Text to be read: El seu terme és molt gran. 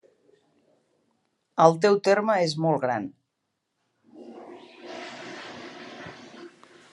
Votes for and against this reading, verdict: 1, 2, rejected